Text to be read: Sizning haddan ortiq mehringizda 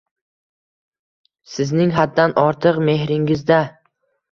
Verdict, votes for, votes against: accepted, 2, 0